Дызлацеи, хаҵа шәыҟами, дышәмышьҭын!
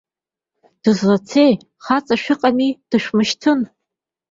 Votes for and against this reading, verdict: 2, 1, accepted